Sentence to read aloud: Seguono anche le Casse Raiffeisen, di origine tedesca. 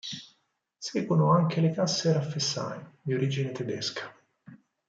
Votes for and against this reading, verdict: 4, 0, accepted